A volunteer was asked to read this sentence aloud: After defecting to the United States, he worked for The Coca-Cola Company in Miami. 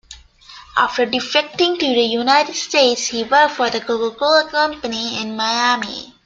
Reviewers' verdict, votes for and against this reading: accepted, 2, 0